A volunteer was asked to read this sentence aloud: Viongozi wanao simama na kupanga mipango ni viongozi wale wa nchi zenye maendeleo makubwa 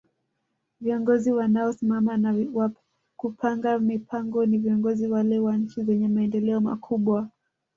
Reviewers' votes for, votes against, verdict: 1, 2, rejected